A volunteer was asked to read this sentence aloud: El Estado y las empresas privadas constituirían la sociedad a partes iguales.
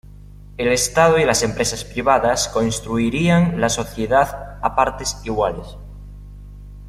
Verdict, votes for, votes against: accepted, 2, 1